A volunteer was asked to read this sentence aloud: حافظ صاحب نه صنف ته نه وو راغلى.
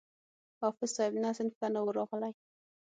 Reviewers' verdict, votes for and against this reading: accepted, 6, 0